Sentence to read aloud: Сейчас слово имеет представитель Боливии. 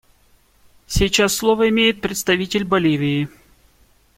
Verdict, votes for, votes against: accepted, 2, 0